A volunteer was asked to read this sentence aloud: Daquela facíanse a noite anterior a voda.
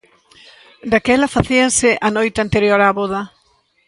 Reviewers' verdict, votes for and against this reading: accepted, 2, 1